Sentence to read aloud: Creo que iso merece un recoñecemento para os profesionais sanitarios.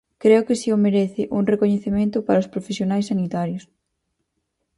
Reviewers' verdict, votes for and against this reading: rejected, 2, 2